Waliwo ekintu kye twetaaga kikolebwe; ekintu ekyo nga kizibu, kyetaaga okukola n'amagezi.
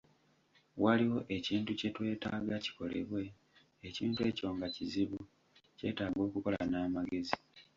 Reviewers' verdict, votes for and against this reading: rejected, 1, 2